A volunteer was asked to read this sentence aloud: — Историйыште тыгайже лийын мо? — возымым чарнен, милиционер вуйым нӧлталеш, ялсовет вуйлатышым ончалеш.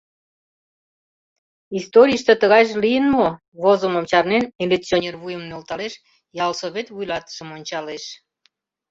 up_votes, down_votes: 2, 0